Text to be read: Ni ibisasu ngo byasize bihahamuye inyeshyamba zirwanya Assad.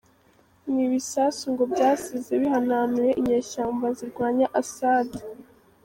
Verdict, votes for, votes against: rejected, 0, 2